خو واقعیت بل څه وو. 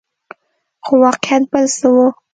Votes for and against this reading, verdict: 2, 0, accepted